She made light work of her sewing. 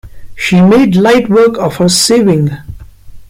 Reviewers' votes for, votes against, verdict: 1, 2, rejected